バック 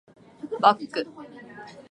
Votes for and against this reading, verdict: 3, 0, accepted